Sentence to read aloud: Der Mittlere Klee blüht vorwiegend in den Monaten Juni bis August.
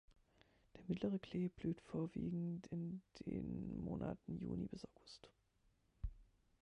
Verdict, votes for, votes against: rejected, 1, 2